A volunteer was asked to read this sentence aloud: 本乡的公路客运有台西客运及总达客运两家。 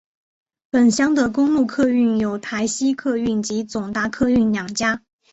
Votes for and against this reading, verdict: 3, 0, accepted